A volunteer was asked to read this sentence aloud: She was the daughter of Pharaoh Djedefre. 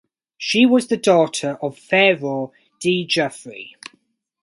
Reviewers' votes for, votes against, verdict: 2, 2, rejected